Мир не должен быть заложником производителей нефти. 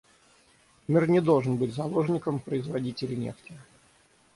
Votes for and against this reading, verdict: 6, 3, accepted